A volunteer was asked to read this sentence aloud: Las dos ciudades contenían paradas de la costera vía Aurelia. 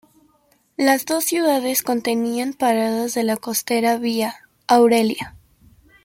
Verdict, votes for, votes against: accepted, 2, 0